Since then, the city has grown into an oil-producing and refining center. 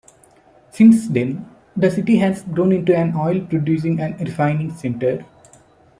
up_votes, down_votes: 2, 0